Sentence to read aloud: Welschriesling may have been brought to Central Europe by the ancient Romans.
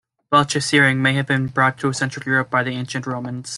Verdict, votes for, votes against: rejected, 0, 2